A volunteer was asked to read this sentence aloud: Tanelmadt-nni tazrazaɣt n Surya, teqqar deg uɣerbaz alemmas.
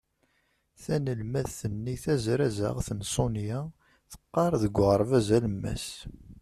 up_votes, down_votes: 0, 2